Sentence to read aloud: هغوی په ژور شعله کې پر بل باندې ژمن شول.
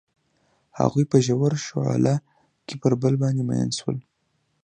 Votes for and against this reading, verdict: 0, 2, rejected